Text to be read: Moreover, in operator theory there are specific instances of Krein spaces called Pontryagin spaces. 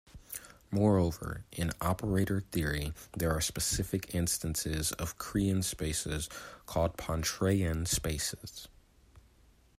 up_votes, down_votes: 0, 2